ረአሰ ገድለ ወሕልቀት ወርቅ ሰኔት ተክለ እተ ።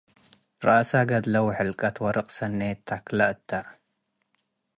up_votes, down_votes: 2, 0